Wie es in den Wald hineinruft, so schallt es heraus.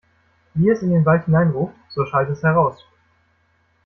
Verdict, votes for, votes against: rejected, 1, 2